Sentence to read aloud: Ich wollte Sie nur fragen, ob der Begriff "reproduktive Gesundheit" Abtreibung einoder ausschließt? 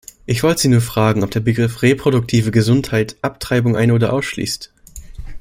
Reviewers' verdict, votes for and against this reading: rejected, 0, 2